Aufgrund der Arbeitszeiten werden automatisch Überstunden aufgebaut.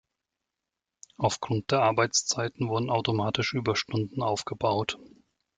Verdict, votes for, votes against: rejected, 0, 2